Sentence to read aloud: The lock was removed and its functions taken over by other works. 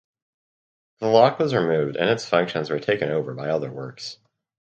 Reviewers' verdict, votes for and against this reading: rejected, 0, 2